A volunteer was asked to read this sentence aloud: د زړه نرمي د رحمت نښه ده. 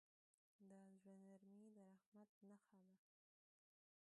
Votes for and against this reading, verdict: 0, 2, rejected